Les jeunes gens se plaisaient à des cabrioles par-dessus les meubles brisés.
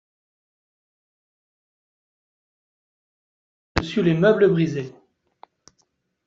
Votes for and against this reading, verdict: 0, 2, rejected